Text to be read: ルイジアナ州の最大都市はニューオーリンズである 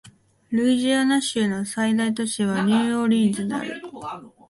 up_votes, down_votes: 2, 0